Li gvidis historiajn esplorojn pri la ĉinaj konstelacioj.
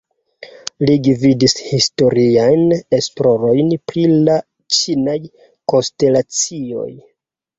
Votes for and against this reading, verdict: 1, 2, rejected